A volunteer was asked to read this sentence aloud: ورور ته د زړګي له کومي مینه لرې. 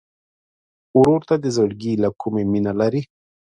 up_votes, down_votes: 2, 0